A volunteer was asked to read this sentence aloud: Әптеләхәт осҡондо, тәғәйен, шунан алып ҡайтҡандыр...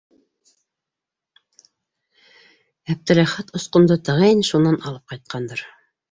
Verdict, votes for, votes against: accepted, 2, 1